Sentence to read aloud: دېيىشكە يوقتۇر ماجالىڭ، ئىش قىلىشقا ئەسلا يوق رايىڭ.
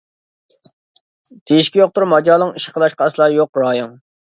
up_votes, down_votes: 0, 2